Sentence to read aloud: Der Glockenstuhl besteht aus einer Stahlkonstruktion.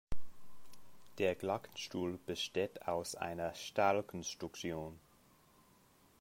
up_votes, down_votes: 1, 2